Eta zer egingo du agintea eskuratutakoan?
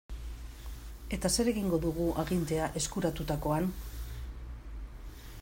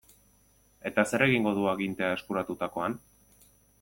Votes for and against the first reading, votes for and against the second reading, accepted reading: 1, 2, 2, 1, second